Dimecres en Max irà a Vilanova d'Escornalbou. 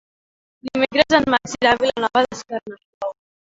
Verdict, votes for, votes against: rejected, 1, 2